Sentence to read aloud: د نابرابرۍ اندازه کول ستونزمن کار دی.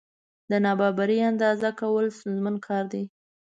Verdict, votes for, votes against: rejected, 0, 2